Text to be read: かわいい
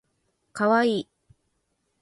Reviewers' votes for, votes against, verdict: 4, 0, accepted